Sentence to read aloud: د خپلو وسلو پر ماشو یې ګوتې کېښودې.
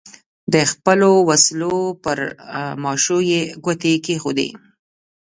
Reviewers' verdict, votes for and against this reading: rejected, 0, 2